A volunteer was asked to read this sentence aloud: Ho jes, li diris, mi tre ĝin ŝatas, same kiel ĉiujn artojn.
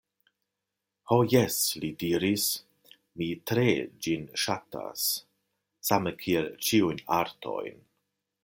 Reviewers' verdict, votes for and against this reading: accepted, 2, 0